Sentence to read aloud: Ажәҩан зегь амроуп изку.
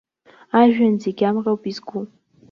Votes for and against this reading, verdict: 2, 0, accepted